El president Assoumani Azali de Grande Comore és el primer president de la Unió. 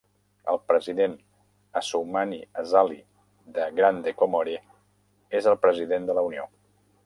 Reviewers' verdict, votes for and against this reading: rejected, 1, 2